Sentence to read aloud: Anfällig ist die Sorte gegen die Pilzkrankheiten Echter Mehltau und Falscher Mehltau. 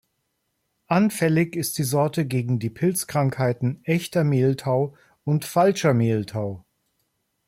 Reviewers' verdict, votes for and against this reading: accepted, 2, 0